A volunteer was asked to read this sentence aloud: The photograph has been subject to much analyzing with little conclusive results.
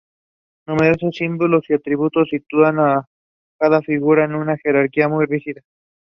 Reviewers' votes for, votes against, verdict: 1, 2, rejected